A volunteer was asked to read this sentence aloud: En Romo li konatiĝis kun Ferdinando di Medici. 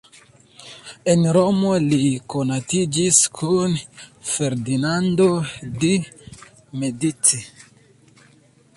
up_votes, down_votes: 0, 2